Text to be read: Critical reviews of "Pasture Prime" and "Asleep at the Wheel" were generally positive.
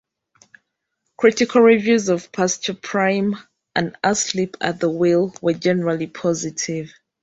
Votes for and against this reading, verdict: 2, 1, accepted